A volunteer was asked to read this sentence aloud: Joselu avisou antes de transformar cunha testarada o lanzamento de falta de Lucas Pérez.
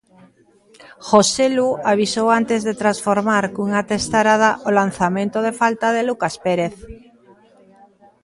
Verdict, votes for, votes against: accepted, 2, 1